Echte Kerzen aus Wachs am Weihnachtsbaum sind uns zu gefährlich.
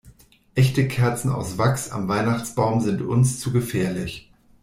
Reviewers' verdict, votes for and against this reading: accepted, 2, 0